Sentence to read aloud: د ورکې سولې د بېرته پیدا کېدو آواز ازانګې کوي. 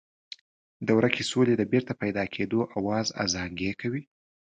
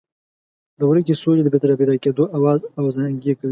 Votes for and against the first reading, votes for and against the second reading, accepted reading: 2, 0, 0, 2, first